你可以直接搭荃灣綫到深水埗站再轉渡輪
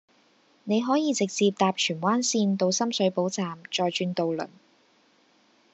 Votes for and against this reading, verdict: 2, 0, accepted